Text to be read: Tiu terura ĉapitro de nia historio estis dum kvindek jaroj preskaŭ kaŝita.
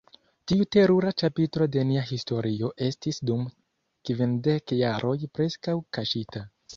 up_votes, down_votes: 1, 2